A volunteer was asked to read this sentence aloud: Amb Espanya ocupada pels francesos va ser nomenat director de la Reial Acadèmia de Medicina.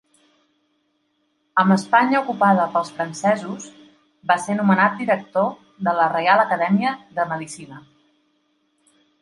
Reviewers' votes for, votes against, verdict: 2, 0, accepted